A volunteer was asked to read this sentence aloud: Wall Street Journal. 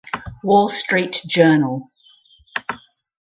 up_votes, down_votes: 2, 2